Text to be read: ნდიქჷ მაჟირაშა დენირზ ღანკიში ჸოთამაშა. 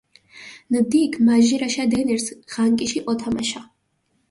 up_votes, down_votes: 2, 0